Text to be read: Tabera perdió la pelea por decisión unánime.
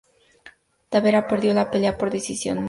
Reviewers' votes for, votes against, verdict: 0, 2, rejected